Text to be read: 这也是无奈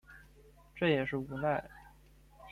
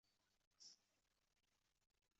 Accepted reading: first